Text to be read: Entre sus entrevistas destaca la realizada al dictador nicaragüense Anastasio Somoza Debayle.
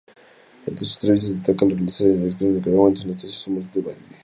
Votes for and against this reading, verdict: 0, 4, rejected